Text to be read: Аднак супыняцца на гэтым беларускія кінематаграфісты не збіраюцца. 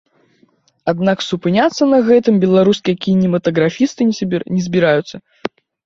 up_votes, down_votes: 0, 2